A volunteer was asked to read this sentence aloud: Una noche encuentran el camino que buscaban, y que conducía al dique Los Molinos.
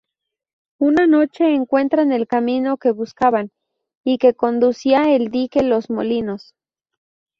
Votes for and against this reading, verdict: 0, 2, rejected